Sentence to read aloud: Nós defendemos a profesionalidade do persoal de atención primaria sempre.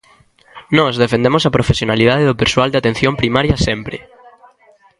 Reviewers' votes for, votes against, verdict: 2, 0, accepted